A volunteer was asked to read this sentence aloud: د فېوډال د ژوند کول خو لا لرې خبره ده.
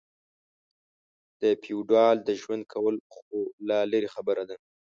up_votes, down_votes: 2, 0